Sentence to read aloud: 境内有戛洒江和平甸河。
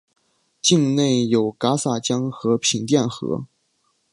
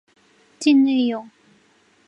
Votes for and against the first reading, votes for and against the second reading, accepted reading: 3, 0, 1, 2, first